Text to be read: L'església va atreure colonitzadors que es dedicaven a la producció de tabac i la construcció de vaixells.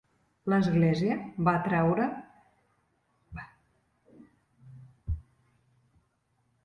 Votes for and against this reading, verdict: 0, 2, rejected